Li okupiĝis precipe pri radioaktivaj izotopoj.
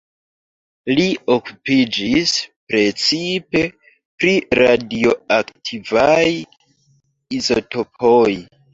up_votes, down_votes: 0, 2